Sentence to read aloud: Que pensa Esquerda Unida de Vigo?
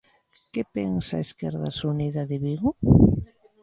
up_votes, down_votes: 0, 2